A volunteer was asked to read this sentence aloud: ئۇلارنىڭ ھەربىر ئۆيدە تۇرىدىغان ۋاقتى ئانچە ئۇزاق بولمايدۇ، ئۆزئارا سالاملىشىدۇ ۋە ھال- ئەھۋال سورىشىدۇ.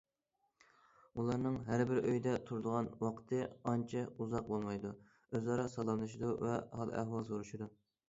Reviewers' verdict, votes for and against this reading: accepted, 2, 0